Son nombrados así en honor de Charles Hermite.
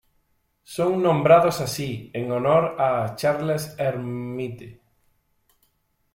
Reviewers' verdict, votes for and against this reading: rejected, 0, 2